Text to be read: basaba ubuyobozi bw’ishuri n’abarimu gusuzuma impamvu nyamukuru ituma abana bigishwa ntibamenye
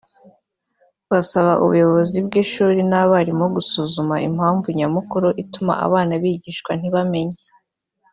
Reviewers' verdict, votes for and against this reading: accepted, 2, 0